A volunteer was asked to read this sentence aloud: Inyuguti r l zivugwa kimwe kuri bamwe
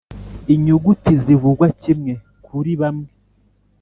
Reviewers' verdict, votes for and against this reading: rejected, 1, 2